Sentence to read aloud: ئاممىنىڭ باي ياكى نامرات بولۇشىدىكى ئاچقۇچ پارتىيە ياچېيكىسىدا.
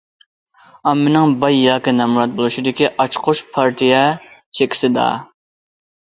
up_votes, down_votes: 0, 2